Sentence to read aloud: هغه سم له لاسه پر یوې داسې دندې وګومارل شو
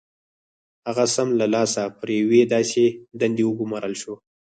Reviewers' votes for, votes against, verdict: 0, 4, rejected